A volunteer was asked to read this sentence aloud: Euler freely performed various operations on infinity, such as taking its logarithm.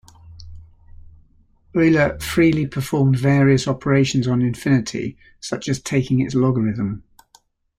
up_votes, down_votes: 0, 2